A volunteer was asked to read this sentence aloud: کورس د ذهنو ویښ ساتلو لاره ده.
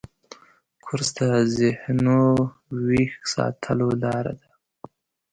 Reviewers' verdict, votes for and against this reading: rejected, 1, 2